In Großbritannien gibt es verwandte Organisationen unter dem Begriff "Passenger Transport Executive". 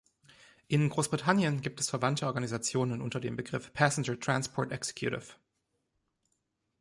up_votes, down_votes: 2, 0